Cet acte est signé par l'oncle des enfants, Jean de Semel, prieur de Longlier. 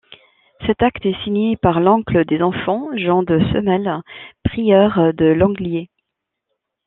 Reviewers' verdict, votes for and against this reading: accepted, 2, 0